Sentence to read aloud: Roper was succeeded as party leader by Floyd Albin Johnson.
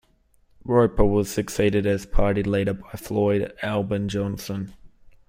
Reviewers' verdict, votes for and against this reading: accepted, 2, 0